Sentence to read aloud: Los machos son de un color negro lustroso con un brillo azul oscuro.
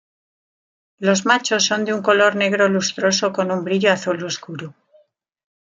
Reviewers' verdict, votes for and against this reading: accepted, 2, 1